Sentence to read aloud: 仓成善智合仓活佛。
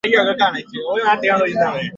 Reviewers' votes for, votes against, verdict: 1, 3, rejected